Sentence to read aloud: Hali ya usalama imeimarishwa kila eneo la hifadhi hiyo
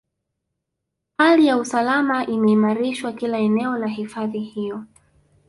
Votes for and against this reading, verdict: 1, 2, rejected